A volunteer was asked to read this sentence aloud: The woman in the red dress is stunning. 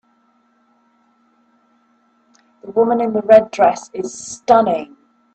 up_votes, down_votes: 2, 0